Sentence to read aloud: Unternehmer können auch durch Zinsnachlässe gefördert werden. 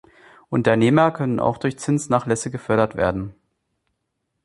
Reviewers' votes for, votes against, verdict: 2, 0, accepted